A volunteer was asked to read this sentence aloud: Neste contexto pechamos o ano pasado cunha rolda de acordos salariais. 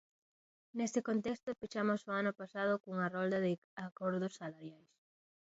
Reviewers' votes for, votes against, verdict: 2, 0, accepted